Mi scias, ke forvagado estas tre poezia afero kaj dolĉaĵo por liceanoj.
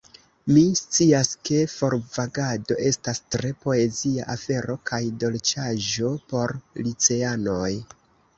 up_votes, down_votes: 1, 2